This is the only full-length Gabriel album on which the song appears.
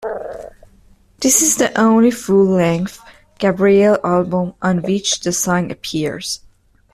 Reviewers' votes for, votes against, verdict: 2, 0, accepted